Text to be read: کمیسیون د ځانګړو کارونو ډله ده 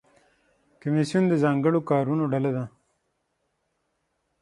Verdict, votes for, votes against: accepted, 6, 3